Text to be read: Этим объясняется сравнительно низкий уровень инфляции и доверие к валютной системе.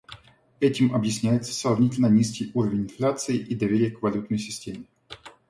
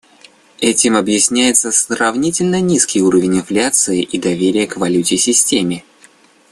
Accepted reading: first